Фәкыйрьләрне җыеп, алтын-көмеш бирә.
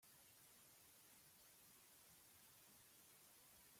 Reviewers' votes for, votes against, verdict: 0, 2, rejected